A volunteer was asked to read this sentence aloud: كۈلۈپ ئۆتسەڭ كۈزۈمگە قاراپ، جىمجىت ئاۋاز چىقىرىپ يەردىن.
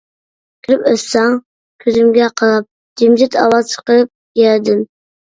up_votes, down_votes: 2, 1